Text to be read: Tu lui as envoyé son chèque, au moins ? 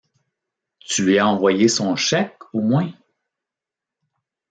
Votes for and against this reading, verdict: 2, 0, accepted